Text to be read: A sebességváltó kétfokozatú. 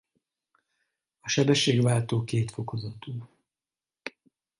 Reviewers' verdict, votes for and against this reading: rejected, 0, 4